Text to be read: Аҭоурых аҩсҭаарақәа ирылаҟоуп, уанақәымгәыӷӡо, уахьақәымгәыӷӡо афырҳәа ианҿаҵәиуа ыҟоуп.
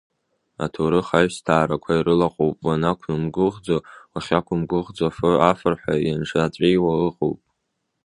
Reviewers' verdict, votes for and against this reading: rejected, 0, 2